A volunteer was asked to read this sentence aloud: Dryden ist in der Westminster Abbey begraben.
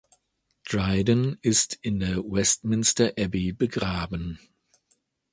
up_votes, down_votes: 2, 0